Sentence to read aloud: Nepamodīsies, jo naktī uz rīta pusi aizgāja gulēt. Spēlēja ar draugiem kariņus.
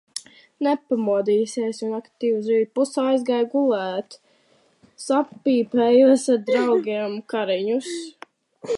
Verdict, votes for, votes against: rejected, 0, 2